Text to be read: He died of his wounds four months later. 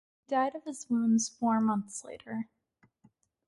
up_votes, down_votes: 0, 2